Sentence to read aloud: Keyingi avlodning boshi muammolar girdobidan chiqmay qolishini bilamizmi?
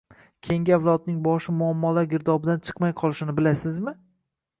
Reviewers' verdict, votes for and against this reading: rejected, 1, 2